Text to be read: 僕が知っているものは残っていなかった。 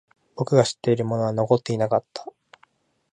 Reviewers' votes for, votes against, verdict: 2, 0, accepted